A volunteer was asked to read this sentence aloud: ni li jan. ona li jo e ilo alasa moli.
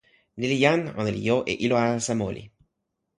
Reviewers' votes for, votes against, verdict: 2, 0, accepted